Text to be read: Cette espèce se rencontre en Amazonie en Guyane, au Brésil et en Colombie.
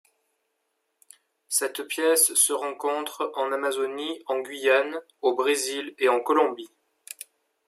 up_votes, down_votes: 0, 2